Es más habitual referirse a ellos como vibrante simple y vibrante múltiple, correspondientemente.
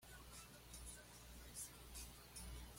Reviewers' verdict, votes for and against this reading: rejected, 1, 2